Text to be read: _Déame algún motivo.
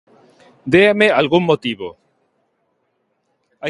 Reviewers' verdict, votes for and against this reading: rejected, 1, 2